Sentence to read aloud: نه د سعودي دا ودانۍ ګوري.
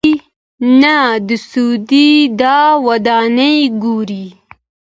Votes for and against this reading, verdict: 2, 0, accepted